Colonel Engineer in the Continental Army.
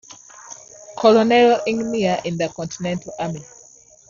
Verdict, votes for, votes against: accepted, 2, 1